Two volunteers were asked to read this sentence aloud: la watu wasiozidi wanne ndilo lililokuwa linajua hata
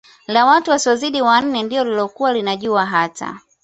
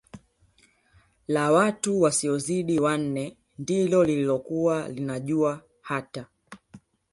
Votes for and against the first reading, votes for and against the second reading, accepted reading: 2, 0, 1, 2, first